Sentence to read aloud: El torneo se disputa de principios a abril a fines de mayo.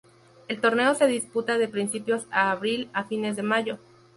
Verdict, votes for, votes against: accepted, 2, 0